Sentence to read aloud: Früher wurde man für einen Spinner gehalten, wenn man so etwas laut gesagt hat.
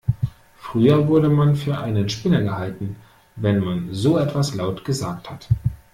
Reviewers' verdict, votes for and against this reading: accepted, 2, 0